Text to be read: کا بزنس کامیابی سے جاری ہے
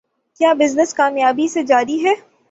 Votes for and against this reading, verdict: 9, 6, accepted